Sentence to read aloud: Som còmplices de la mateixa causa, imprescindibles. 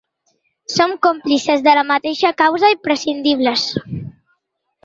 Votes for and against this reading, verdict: 2, 0, accepted